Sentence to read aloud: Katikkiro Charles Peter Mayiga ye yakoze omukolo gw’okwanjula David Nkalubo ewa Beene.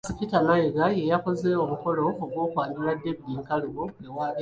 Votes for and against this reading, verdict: 2, 1, accepted